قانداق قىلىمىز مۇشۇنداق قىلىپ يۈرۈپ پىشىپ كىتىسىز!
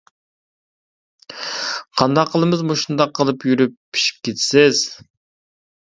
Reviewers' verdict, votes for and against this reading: accepted, 2, 0